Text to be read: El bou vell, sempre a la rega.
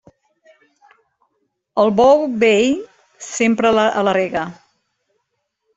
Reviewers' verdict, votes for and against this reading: rejected, 1, 2